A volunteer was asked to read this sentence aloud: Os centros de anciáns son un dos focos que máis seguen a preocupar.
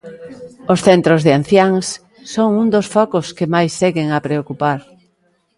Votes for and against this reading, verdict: 2, 0, accepted